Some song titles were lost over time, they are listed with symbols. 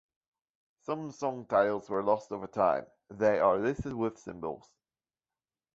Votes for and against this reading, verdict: 2, 1, accepted